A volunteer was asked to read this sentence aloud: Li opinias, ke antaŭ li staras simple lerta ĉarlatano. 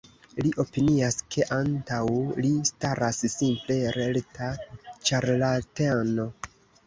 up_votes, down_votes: 0, 2